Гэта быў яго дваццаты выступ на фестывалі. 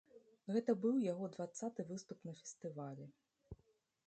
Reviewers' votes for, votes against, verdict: 2, 0, accepted